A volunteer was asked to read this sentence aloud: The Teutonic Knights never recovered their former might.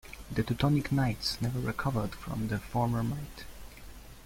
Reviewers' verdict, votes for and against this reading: rejected, 1, 2